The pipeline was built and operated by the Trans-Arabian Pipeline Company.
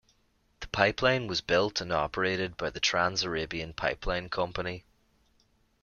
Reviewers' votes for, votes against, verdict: 2, 0, accepted